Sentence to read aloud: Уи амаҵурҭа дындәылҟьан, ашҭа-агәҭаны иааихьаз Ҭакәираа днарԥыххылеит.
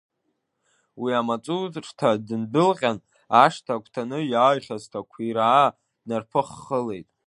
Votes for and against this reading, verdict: 0, 3, rejected